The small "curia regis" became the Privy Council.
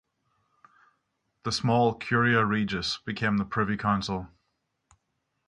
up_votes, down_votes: 3, 0